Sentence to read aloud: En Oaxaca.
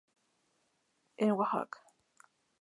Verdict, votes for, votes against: accepted, 2, 0